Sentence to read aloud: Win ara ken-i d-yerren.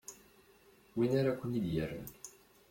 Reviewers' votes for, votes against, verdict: 1, 2, rejected